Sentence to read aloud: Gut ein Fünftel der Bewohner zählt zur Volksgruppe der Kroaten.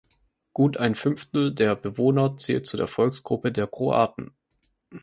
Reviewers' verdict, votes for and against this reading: accepted, 2, 0